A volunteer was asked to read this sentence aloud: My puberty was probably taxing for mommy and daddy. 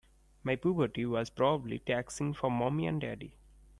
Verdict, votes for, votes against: accepted, 2, 1